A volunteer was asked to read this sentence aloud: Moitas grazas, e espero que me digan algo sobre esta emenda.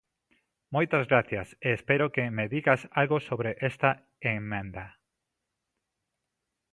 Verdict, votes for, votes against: rejected, 0, 2